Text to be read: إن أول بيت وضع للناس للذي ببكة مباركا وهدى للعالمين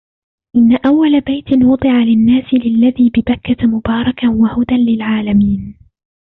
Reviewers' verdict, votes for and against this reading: rejected, 0, 2